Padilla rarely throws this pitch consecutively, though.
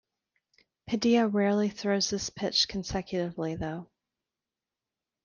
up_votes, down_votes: 2, 0